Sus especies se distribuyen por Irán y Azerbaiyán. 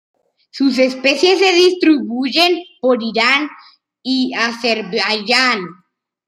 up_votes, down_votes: 2, 1